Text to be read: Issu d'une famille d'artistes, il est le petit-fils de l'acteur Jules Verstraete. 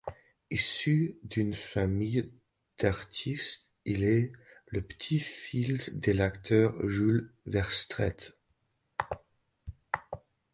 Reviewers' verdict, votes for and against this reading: rejected, 1, 2